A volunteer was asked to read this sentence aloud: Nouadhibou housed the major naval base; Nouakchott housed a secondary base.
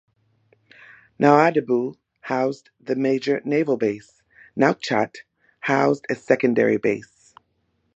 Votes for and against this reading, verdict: 2, 0, accepted